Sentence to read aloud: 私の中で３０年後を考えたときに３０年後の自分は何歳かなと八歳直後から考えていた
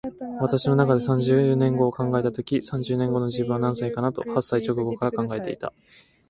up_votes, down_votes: 0, 2